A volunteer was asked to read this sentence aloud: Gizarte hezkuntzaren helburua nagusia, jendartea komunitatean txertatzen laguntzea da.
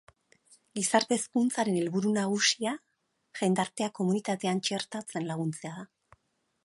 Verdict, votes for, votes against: accepted, 10, 2